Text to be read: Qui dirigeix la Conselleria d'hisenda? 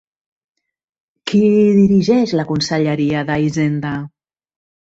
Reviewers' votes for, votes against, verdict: 2, 1, accepted